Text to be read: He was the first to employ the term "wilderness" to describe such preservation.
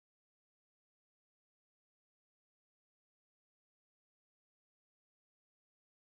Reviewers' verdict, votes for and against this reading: rejected, 0, 2